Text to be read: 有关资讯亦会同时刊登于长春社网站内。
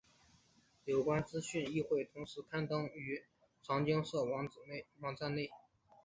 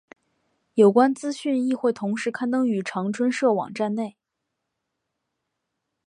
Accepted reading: second